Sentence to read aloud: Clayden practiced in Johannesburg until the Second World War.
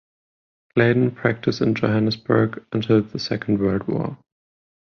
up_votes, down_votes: 10, 0